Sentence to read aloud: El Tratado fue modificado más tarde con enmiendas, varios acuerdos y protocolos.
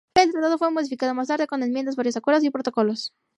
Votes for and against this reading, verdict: 0, 2, rejected